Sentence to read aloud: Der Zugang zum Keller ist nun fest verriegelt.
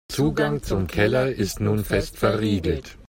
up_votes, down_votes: 0, 2